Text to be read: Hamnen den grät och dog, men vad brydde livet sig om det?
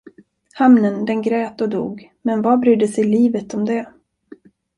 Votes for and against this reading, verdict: 1, 2, rejected